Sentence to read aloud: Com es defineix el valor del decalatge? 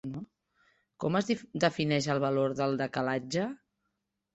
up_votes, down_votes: 0, 4